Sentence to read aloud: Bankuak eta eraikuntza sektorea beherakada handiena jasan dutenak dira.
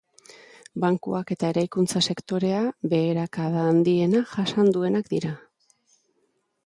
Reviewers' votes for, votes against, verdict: 0, 2, rejected